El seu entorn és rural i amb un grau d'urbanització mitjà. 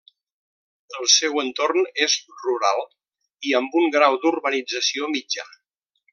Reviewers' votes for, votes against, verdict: 3, 0, accepted